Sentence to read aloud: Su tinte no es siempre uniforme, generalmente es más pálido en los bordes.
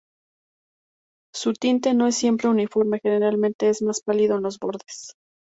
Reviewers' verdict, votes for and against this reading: accepted, 2, 0